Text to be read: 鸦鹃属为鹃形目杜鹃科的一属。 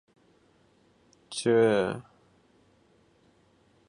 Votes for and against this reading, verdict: 0, 3, rejected